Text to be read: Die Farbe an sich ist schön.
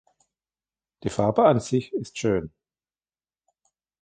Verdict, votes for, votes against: accepted, 2, 0